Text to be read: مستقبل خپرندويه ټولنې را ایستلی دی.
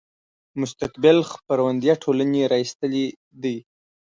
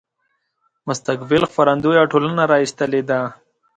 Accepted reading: second